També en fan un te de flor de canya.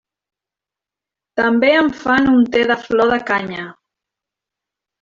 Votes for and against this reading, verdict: 2, 0, accepted